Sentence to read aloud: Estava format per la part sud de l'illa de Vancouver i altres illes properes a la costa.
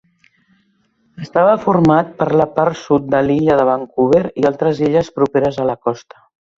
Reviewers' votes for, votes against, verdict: 4, 0, accepted